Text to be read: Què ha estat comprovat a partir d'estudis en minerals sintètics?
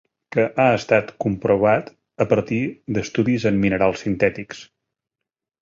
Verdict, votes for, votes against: rejected, 1, 2